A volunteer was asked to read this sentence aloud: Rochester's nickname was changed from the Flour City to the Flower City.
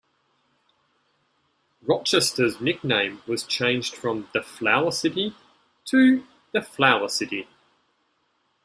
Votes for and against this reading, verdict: 2, 0, accepted